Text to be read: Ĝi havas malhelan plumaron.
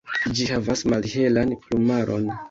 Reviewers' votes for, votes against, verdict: 2, 0, accepted